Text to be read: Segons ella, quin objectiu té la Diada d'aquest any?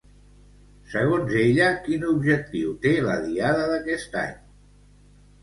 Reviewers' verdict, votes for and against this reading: accepted, 2, 0